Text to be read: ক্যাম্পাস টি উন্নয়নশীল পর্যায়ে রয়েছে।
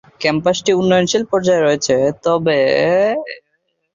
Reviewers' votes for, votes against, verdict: 0, 3, rejected